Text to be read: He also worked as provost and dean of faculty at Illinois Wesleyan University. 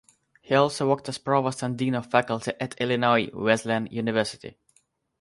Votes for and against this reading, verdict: 3, 3, rejected